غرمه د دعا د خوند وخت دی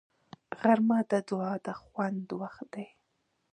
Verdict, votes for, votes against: rejected, 1, 2